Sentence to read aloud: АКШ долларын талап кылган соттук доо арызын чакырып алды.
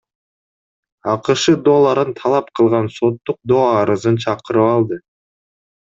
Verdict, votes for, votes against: accepted, 2, 0